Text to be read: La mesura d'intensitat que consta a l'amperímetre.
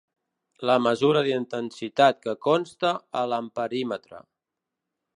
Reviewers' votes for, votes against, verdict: 2, 0, accepted